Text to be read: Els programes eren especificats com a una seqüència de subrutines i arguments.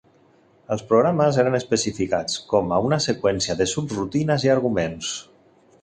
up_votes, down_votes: 4, 0